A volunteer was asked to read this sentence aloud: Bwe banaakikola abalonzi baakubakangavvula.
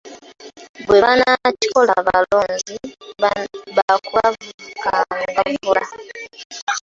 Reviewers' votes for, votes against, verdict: 0, 2, rejected